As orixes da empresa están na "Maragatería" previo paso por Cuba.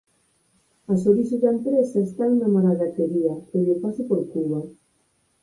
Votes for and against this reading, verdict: 12, 28, rejected